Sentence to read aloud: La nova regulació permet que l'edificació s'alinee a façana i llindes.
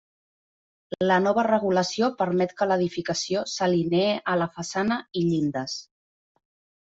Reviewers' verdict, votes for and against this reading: rejected, 0, 2